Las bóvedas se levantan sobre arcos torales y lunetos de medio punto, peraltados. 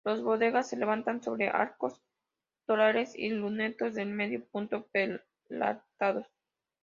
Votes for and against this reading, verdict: 1, 2, rejected